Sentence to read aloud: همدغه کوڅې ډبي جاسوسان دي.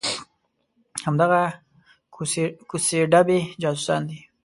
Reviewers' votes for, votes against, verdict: 0, 2, rejected